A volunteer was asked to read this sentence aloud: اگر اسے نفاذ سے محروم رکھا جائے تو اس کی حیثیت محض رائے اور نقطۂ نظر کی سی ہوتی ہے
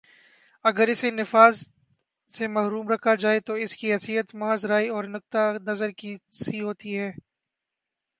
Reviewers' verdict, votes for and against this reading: accepted, 5, 4